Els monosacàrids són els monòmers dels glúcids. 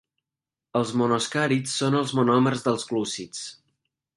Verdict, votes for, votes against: rejected, 1, 2